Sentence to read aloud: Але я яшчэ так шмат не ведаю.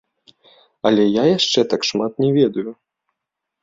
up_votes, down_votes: 1, 2